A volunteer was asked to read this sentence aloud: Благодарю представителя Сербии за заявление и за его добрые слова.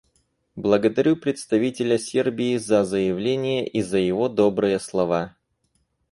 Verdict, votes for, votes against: accepted, 4, 0